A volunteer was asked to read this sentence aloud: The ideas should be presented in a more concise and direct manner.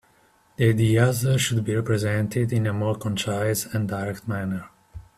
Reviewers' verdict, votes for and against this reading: rejected, 0, 2